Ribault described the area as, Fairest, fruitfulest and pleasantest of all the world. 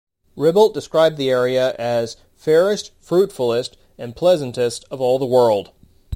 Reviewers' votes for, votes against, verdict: 2, 0, accepted